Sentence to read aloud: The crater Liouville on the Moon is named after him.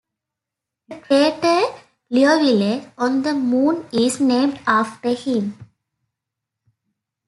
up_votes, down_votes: 0, 2